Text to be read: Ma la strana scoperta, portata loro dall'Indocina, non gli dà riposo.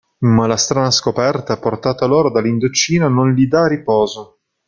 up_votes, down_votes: 2, 1